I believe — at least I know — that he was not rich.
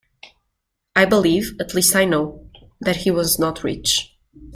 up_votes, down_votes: 2, 0